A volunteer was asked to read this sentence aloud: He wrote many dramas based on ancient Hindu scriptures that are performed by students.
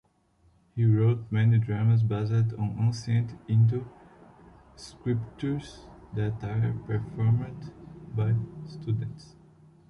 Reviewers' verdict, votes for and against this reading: rejected, 0, 2